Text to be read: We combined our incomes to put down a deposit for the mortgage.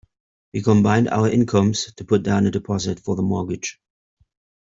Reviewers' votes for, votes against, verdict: 2, 0, accepted